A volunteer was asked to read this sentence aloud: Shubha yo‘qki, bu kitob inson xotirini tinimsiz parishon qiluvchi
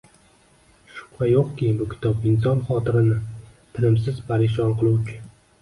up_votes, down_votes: 1, 2